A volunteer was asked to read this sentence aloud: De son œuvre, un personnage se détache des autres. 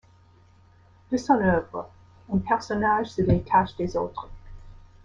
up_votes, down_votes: 1, 2